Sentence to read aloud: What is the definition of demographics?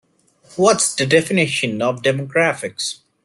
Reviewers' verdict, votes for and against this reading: rejected, 0, 2